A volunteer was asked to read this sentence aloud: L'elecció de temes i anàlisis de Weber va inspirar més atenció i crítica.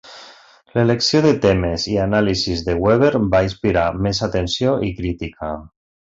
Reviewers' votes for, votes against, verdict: 2, 0, accepted